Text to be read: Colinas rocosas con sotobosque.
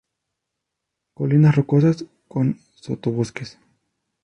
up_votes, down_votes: 0, 2